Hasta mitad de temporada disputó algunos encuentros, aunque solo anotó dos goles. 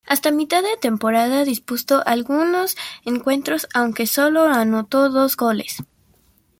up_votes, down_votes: 0, 2